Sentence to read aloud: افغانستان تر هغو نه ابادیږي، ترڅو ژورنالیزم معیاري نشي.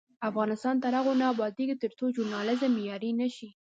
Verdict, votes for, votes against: accepted, 2, 0